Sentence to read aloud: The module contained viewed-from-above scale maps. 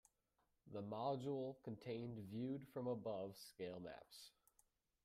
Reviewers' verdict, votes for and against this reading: rejected, 1, 3